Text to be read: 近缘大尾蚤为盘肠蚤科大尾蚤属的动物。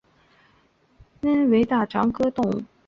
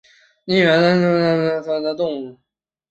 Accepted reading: first